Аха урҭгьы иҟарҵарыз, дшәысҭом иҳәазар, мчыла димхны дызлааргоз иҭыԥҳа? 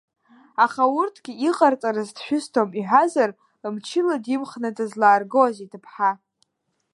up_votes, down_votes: 1, 2